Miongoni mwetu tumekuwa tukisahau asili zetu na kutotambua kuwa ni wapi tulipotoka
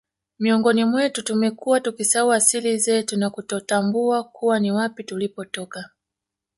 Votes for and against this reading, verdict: 2, 1, accepted